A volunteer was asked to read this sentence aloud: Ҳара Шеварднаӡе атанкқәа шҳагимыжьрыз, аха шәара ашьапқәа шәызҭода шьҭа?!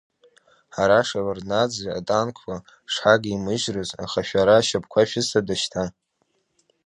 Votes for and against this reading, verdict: 2, 1, accepted